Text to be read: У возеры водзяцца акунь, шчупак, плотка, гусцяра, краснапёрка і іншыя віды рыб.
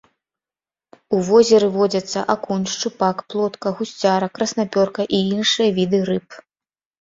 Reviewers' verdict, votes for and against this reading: accepted, 2, 0